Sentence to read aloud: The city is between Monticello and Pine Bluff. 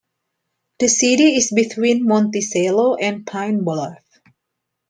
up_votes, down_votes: 2, 0